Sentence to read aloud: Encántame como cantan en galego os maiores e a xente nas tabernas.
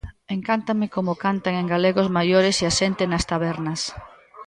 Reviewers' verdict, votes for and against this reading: rejected, 1, 2